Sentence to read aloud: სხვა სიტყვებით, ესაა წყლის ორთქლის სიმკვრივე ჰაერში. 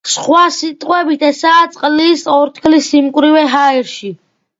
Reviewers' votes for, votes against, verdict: 2, 0, accepted